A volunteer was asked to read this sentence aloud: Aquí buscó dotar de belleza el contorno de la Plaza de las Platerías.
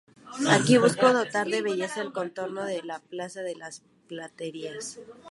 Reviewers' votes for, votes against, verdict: 2, 0, accepted